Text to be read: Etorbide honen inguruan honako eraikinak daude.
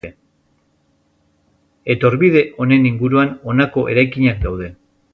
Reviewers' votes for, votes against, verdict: 0, 2, rejected